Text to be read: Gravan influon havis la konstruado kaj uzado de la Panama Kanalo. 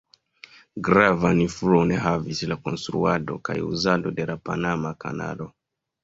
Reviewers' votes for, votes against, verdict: 0, 2, rejected